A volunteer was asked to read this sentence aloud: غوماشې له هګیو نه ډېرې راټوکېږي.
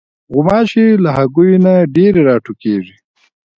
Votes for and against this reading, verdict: 2, 1, accepted